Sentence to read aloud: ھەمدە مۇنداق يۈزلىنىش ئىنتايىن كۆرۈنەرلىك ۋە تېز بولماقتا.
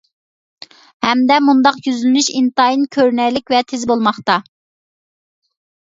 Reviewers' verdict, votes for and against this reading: accepted, 2, 0